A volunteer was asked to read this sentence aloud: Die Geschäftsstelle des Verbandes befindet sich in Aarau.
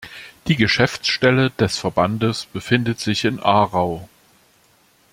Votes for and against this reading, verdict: 2, 0, accepted